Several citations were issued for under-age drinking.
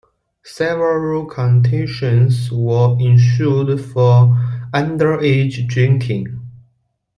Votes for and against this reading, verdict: 0, 2, rejected